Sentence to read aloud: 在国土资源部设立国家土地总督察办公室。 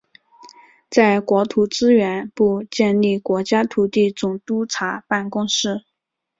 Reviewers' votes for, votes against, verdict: 2, 0, accepted